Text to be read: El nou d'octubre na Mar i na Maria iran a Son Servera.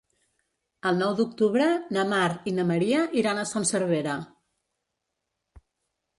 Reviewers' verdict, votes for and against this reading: accepted, 2, 0